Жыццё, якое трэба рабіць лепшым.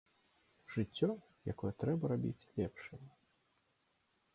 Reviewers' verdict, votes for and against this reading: accepted, 2, 0